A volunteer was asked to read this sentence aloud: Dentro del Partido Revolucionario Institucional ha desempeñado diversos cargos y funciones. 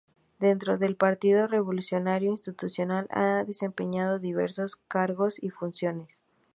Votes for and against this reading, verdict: 4, 0, accepted